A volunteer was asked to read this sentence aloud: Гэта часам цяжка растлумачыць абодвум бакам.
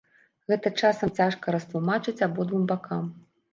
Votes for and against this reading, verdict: 2, 0, accepted